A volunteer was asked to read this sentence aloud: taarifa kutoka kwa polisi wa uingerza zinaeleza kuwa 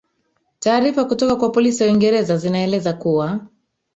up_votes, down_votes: 1, 2